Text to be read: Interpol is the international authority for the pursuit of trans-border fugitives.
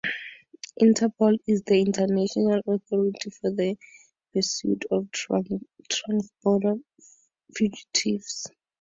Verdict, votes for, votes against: rejected, 0, 4